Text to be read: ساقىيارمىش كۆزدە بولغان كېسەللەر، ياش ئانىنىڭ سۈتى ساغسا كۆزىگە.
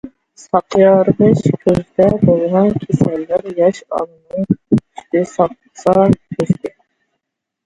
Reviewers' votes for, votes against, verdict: 0, 2, rejected